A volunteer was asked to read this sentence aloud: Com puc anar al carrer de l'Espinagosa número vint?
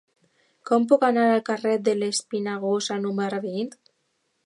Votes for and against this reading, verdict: 2, 0, accepted